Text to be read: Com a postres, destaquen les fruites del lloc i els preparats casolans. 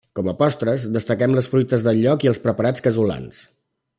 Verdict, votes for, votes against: rejected, 1, 2